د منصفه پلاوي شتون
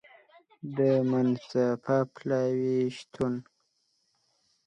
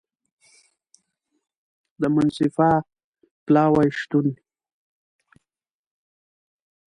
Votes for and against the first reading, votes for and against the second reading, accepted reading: 1, 2, 2, 1, second